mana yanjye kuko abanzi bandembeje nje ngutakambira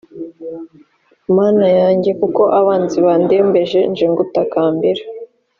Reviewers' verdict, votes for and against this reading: accepted, 3, 0